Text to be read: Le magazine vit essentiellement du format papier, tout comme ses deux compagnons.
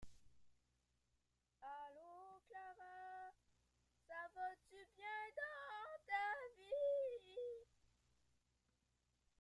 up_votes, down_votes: 0, 2